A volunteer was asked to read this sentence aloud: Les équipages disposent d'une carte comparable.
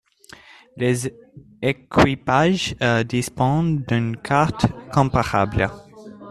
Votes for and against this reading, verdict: 1, 2, rejected